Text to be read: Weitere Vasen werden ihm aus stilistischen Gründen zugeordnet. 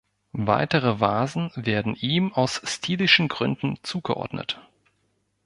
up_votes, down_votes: 1, 2